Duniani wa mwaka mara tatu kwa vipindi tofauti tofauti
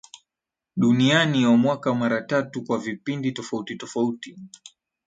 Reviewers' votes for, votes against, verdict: 10, 0, accepted